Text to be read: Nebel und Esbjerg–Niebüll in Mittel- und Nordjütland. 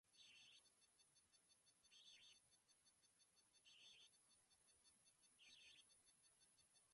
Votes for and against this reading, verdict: 0, 2, rejected